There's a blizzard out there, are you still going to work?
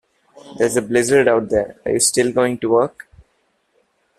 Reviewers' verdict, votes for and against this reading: accepted, 2, 0